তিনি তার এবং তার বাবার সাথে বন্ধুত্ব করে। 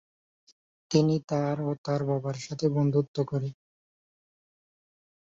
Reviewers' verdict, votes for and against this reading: rejected, 2, 4